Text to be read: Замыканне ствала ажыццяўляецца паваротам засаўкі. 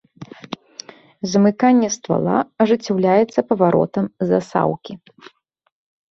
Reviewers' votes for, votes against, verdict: 0, 2, rejected